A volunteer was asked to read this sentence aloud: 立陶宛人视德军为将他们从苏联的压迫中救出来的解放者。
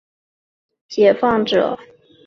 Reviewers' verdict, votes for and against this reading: rejected, 1, 2